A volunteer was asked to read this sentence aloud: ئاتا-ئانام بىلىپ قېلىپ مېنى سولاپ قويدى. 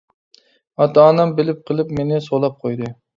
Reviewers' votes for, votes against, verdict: 3, 0, accepted